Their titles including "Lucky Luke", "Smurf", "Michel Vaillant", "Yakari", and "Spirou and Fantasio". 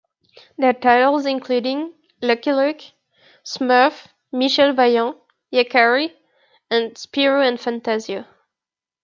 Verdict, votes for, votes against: accepted, 2, 1